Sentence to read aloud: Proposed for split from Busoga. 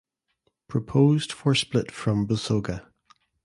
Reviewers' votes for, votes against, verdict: 2, 0, accepted